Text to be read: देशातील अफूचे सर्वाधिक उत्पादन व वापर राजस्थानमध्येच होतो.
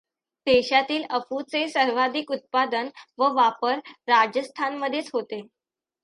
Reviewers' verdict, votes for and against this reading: rejected, 0, 2